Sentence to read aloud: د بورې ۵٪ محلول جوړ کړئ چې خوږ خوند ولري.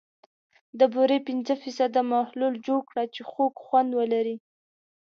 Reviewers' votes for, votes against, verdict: 0, 2, rejected